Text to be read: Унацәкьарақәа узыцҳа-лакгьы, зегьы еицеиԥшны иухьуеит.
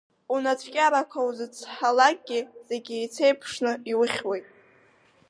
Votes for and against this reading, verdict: 6, 0, accepted